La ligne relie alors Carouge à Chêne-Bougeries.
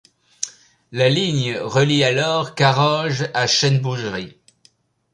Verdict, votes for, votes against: rejected, 0, 2